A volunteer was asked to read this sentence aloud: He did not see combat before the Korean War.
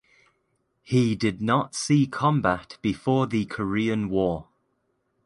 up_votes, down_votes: 2, 0